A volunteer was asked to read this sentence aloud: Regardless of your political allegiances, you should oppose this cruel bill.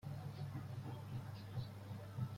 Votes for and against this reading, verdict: 0, 2, rejected